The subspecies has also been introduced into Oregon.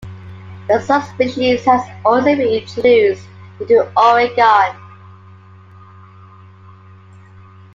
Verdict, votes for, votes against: accepted, 2, 0